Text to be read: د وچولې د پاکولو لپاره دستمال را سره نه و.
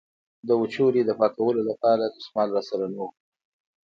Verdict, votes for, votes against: accepted, 2, 1